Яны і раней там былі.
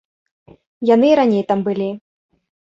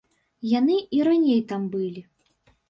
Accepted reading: first